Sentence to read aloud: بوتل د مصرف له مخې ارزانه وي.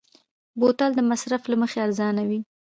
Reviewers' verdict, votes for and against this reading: rejected, 0, 2